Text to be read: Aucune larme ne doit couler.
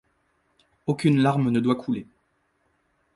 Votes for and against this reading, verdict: 2, 0, accepted